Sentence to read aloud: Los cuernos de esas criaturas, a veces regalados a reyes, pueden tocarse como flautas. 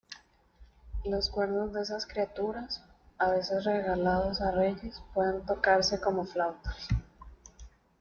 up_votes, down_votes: 2, 0